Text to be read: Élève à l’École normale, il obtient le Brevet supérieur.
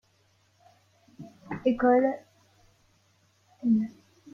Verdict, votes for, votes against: rejected, 0, 2